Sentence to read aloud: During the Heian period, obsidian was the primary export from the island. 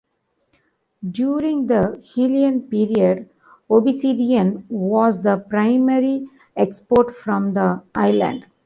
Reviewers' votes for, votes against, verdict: 0, 2, rejected